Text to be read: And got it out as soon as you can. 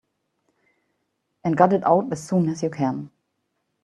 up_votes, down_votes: 2, 1